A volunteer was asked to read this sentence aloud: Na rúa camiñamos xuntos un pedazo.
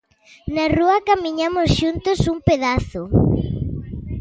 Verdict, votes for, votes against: accepted, 2, 0